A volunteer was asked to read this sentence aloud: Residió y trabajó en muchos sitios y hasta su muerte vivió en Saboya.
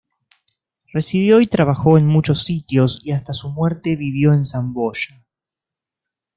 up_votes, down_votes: 1, 2